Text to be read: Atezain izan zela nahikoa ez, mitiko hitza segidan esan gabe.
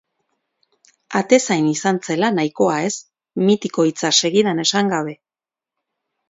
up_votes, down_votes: 4, 0